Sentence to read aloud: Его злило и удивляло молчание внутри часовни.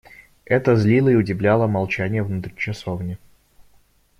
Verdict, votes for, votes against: rejected, 0, 2